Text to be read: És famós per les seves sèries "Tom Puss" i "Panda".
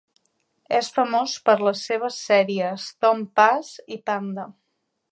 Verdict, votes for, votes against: accepted, 2, 0